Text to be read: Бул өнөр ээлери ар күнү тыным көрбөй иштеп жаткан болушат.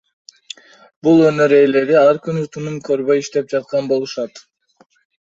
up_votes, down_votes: 2, 0